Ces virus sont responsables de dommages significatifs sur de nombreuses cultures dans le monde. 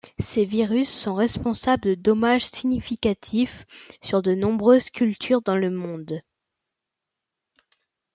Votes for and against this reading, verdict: 1, 2, rejected